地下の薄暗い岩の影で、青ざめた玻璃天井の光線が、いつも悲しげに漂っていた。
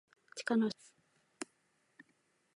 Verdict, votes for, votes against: rejected, 0, 2